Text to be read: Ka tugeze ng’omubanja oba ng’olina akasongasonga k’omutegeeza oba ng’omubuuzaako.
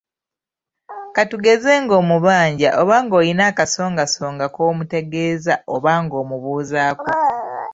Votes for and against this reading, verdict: 3, 0, accepted